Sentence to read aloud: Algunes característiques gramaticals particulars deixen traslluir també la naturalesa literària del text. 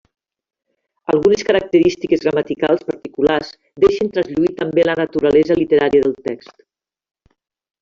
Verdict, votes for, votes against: accepted, 3, 1